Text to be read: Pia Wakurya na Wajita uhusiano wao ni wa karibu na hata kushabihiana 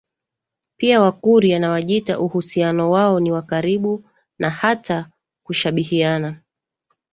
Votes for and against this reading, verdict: 1, 2, rejected